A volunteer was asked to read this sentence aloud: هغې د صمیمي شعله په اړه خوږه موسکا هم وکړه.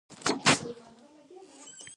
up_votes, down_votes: 1, 2